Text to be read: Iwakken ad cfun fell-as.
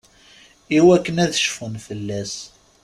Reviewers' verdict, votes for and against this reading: accepted, 2, 0